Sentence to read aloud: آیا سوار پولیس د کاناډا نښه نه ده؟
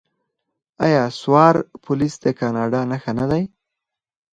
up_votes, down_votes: 4, 2